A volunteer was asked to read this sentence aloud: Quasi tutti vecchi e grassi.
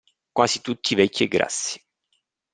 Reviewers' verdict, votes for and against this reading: accepted, 2, 0